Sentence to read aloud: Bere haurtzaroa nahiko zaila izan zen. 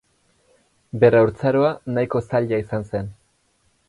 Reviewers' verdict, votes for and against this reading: rejected, 0, 4